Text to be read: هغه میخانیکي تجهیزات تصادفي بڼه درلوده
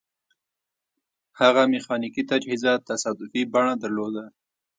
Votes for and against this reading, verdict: 0, 2, rejected